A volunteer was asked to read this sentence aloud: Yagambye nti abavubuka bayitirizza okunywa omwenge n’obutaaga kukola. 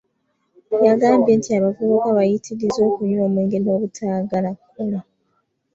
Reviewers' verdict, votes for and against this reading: rejected, 1, 2